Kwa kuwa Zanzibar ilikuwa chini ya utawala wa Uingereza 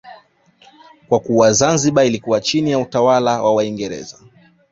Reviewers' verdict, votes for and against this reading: rejected, 1, 2